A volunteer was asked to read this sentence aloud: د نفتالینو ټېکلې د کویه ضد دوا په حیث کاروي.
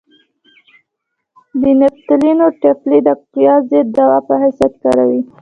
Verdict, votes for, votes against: rejected, 1, 2